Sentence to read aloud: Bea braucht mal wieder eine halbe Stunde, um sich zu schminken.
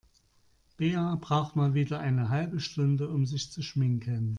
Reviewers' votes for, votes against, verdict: 2, 0, accepted